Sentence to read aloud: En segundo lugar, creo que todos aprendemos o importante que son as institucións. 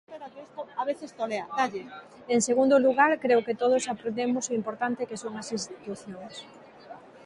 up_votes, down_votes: 0, 2